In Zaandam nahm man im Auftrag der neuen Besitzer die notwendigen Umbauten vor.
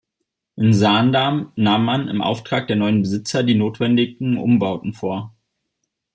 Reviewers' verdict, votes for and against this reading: accepted, 2, 0